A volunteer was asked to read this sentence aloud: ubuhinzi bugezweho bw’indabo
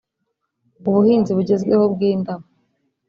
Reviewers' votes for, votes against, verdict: 1, 2, rejected